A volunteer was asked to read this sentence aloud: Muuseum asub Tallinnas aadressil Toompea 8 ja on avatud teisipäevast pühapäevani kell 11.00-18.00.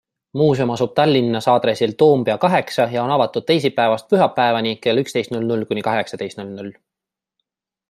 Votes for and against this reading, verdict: 0, 2, rejected